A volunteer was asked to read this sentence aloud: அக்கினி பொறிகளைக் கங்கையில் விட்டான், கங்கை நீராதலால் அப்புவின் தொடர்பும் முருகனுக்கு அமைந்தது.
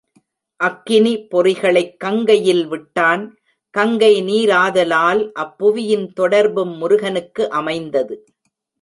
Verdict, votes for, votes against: rejected, 0, 2